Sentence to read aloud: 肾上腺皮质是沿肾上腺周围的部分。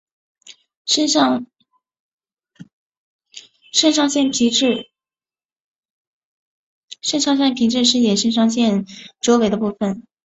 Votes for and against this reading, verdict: 1, 3, rejected